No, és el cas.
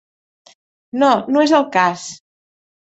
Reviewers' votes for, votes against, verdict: 0, 2, rejected